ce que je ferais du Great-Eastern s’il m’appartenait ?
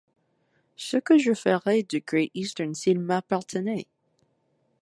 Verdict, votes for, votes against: accepted, 2, 1